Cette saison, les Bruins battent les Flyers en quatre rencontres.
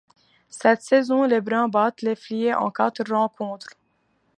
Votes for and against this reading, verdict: 0, 2, rejected